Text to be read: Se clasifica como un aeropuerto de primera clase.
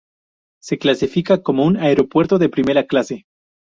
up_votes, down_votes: 2, 2